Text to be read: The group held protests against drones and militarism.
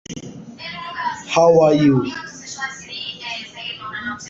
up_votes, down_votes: 0, 2